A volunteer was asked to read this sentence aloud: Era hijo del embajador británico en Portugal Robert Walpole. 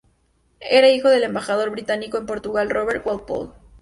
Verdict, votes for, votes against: accepted, 2, 0